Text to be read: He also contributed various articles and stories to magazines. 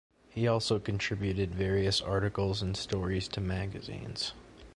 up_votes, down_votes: 2, 0